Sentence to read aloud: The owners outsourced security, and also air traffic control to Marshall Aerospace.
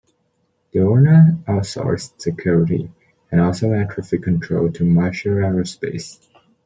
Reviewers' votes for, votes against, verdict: 2, 1, accepted